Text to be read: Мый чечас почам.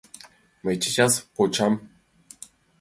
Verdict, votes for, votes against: accepted, 3, 0